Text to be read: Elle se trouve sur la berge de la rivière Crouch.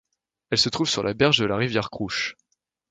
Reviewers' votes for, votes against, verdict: 2, 0, accepted